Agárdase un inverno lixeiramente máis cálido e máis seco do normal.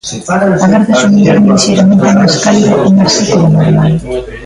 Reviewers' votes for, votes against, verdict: 0, 2, rejected